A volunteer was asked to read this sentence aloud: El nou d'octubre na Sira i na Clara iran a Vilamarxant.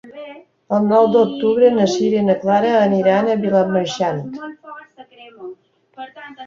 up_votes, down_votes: 2, 1